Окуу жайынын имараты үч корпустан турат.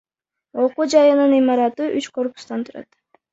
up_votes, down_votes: 1, 2